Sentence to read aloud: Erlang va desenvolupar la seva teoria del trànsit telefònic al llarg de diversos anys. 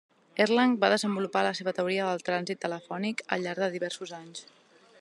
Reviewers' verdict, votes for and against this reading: accepted, 2, 0